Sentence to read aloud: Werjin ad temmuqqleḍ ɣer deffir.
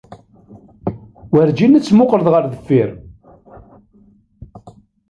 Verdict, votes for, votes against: rejected, 0, 2